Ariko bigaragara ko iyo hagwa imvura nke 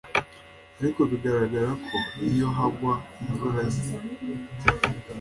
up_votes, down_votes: 2, 1